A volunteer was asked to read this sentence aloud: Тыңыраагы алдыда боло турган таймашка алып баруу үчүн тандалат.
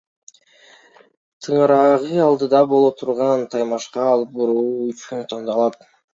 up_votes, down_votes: 1, 2